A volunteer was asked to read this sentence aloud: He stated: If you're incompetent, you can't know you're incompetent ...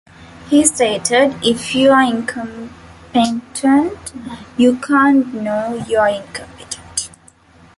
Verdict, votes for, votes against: rejected, 1, 2